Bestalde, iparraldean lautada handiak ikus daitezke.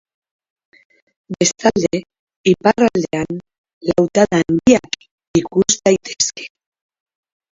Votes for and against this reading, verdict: 0, 2, rejected